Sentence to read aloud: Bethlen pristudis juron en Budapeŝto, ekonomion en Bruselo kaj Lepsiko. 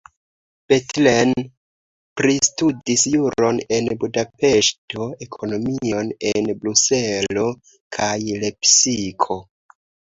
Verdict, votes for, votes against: rejected, 0, 2